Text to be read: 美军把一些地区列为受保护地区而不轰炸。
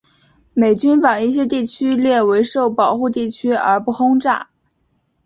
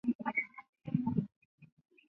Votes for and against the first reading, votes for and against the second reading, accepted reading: 2, 0, 0, 2, first